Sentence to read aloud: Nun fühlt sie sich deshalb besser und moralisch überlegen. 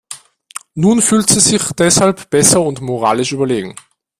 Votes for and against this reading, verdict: 2, 0, accepted